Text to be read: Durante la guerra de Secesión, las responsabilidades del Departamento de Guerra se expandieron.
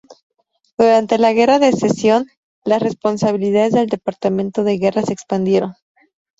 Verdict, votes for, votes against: rejected, 0, 2